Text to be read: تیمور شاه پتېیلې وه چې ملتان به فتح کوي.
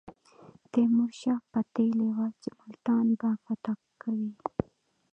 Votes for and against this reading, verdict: 1, 2, rejected